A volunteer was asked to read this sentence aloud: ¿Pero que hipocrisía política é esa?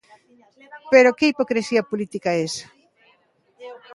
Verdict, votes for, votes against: accepted, 3, 0